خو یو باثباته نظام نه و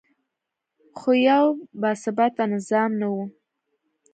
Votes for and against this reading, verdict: 2, 0, accepted